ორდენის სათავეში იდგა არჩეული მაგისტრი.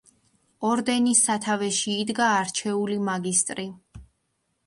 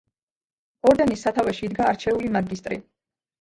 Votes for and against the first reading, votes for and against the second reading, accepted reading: 2, 0, 1, 2, first